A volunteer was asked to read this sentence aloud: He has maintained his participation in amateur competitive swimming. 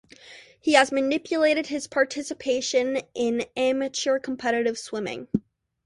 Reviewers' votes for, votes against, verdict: 1, 2, rejected